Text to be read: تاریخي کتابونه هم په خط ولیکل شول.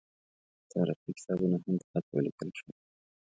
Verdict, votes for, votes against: rejected, 1, 2